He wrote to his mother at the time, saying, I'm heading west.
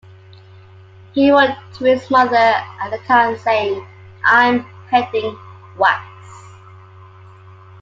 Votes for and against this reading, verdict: 2, 1, accepted